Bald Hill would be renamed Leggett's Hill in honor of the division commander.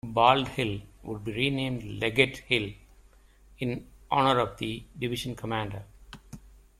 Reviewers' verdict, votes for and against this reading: rejected, 1, 2